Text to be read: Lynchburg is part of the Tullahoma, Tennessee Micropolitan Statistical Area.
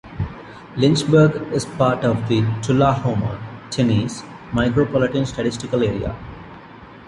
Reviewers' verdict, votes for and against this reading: rejected, 0, 2